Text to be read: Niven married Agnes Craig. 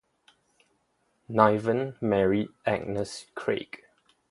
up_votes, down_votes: 2, 0